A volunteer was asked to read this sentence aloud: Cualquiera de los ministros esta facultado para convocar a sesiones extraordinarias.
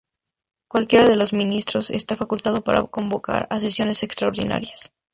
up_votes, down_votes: 0, 2